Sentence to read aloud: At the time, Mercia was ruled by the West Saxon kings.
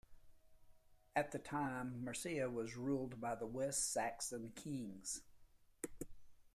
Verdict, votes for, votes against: rejected, 1, 3